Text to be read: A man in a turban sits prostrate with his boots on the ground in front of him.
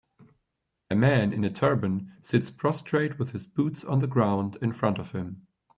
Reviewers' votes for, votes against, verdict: 2, 0, accepted